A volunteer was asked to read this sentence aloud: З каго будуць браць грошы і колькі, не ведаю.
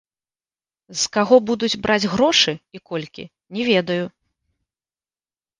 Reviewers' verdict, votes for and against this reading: accepted, 4, 0